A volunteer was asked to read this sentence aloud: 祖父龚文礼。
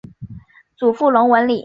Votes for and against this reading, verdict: 1, 2, rejected